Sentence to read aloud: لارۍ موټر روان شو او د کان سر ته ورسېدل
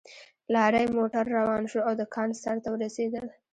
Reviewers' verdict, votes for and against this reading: rejected, 1, 2